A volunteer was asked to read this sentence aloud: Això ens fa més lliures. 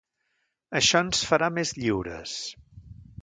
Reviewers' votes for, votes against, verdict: 0, 2, rejected